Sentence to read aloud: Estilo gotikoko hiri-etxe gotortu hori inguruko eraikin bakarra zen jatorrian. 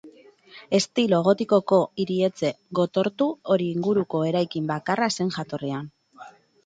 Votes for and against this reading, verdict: 0, 4, rejected